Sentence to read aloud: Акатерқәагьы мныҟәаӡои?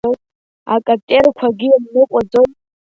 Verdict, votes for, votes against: rejected, 0, 2